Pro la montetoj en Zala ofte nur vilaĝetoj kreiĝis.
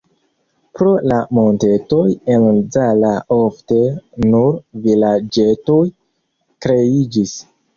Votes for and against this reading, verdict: 0, 2, rejected